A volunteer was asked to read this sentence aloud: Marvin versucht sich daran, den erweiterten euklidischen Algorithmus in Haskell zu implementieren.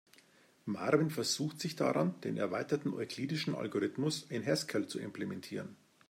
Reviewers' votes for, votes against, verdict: 2, 0, accepted